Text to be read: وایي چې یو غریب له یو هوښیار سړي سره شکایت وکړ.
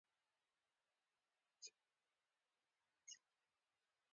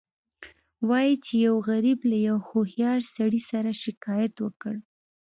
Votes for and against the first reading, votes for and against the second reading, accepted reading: 1, 2, 2, 0, second